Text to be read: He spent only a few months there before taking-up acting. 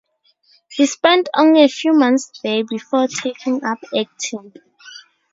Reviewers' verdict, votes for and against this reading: accepted, 2, 0